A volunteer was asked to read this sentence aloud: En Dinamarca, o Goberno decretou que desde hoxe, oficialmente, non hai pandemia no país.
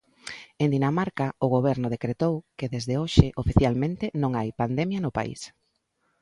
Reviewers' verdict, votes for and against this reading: accepted, 2, 0